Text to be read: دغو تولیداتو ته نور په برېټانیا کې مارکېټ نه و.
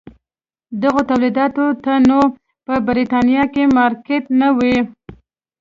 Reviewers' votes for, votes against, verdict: 2, 0, accepted